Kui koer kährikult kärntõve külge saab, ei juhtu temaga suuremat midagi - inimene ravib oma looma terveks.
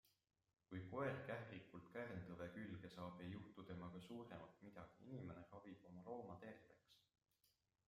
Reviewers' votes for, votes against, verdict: 2, 0, accepted